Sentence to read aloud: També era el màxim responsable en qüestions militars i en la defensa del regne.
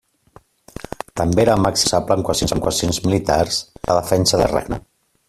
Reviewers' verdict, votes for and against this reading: rejected, 0, 2